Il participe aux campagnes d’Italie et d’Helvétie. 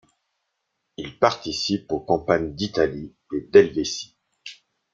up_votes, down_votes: 2, 0